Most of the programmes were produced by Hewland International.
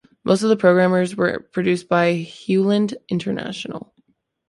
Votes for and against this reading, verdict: 0, 2, rejected